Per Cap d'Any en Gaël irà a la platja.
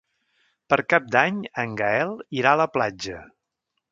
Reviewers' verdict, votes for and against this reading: accepted, 3, 0